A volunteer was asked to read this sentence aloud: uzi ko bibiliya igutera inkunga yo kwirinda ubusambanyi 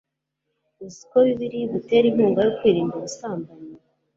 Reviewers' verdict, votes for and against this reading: accepted, 2, 0